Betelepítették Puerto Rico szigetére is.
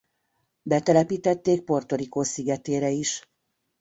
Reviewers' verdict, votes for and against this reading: accepted, 2, 0